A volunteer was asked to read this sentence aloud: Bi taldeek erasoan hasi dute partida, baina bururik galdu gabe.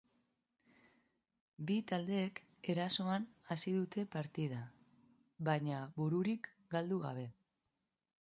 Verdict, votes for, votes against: accepted, 2, 0